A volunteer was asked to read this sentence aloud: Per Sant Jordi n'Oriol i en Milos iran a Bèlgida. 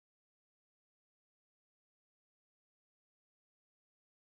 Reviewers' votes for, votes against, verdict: 0, 3, rejected